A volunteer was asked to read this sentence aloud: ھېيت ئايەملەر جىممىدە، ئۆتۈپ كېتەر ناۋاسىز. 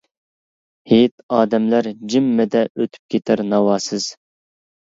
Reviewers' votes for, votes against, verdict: 1, 2, rejected